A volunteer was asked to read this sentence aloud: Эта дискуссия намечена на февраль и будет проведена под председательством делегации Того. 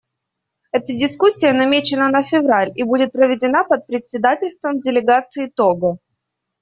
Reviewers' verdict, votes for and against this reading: accepted, 2, 0